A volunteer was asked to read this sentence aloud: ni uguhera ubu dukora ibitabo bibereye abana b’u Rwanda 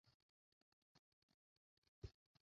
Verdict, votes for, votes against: rejected, 0, 2